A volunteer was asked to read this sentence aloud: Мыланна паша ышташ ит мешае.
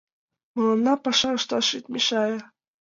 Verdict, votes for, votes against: accepted, 2, 0